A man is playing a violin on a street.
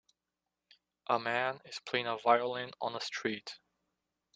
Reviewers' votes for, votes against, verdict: 2, 0, accepted